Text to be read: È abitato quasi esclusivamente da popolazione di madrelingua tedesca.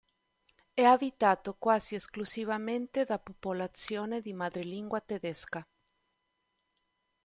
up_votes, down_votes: 2, 0